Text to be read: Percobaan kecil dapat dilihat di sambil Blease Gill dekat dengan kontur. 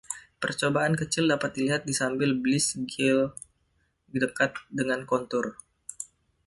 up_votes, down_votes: 0, 2